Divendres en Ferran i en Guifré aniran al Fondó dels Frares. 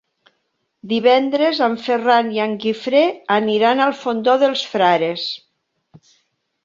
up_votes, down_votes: 3, 0